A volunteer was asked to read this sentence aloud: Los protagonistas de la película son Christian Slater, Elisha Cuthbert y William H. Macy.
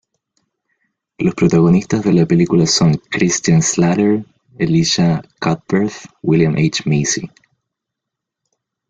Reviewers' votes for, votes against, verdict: 1, 2, rejected